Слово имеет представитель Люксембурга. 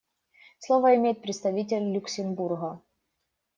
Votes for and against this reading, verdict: 2, 0, accepted